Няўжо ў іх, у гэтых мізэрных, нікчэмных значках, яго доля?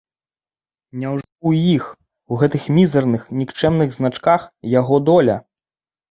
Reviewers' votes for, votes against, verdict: 0, 3, rejected